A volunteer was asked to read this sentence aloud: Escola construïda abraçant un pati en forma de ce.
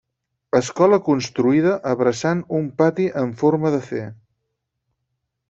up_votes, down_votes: 6, 0